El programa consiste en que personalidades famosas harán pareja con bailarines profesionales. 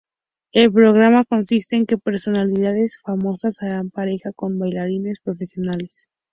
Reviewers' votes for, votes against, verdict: 4, 0, accepted